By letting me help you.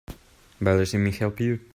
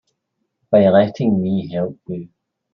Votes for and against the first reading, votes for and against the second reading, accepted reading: 3, 0, 0, 2, first